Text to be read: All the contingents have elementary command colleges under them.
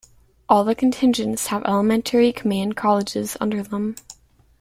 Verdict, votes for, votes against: accepted, 2, 0